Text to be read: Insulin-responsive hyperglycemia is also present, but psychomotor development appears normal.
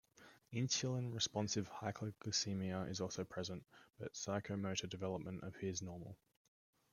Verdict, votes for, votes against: accepted, 2, 1